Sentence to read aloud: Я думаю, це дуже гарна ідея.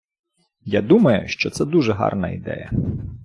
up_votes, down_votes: 0, 2